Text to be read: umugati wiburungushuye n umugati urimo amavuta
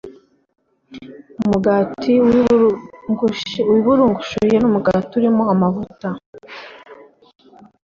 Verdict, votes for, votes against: rejected, 1, 2